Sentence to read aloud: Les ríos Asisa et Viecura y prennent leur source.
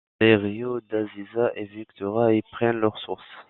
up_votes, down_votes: 1, 2